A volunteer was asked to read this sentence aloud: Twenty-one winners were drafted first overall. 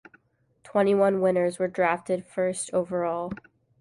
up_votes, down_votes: 2, 0